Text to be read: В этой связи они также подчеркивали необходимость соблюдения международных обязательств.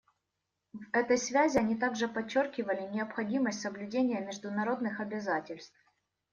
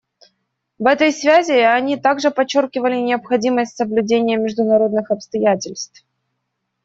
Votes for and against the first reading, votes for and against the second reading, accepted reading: 2, 0, 0, 2, first